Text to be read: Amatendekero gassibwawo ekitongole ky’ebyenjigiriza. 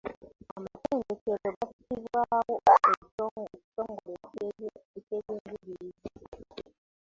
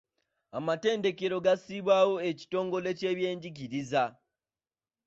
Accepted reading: second